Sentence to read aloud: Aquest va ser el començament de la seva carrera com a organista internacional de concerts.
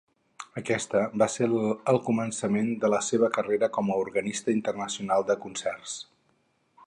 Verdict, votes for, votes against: rejected, 2, 2